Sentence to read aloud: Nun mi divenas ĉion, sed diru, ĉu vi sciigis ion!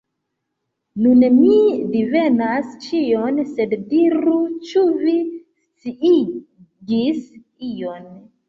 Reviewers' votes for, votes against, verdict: 0, 2, rejected